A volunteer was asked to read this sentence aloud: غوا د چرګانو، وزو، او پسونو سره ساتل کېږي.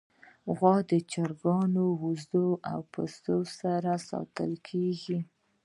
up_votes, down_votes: 0, 2